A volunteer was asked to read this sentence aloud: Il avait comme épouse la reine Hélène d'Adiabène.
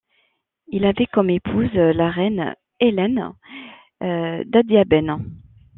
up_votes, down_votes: 1, 2